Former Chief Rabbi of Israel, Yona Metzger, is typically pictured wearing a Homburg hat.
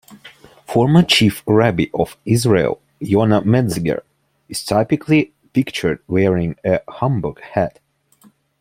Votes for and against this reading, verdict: 2, 0, accepted